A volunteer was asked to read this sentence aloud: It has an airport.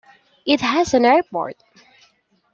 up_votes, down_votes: 2, 0